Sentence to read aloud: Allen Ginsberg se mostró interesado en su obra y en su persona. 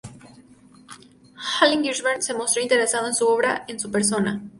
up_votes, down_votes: 2, 2